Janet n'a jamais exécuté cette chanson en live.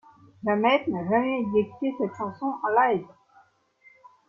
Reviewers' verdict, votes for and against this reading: rejected, 1, 2